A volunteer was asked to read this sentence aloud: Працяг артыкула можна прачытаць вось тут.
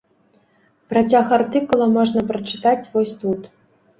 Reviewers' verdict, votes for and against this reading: rejected, 1, 2